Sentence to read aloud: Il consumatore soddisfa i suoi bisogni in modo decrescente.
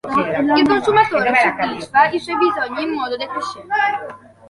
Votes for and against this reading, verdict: 1, 2, rejected